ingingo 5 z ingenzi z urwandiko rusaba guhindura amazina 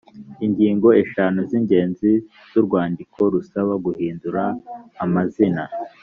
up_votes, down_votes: 0, 2